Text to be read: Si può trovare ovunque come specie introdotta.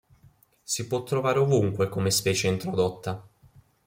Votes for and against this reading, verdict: 2, 0, accepted